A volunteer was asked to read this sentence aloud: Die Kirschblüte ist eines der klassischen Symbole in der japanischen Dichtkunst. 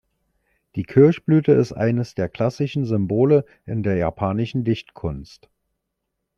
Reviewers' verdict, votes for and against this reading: accepted, 2, 0